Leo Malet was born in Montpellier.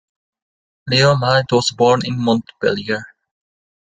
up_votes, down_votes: 2, 1